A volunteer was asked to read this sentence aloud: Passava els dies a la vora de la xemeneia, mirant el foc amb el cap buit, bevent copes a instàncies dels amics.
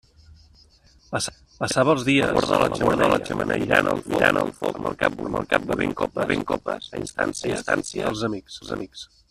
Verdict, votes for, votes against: rejected, 0, 2